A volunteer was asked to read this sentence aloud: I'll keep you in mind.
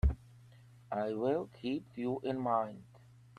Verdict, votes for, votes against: rejected, 0, 2